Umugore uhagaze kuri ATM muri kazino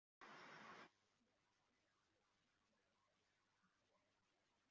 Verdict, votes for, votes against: rejected, 0, 2